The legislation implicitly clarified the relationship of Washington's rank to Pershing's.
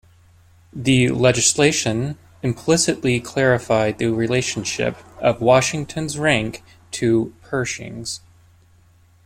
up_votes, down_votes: 2, 0